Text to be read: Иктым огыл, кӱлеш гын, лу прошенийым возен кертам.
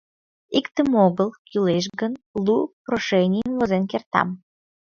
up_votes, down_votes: 2, 0